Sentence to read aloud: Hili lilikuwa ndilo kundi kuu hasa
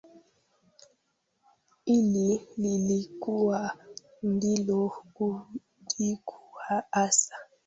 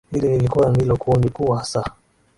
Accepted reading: second